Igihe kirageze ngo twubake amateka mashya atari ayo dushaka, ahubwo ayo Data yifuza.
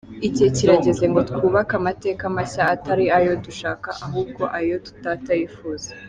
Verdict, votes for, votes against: accepted, 2, 1